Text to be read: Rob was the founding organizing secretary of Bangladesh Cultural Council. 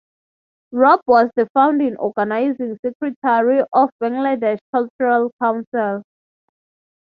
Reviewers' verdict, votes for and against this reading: rejected, 0, 3